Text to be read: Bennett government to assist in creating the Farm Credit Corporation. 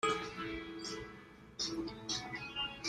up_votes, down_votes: 0, 2